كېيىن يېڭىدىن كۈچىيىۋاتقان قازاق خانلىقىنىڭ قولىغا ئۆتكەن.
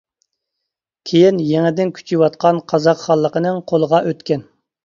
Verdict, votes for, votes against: accepted, 2, 0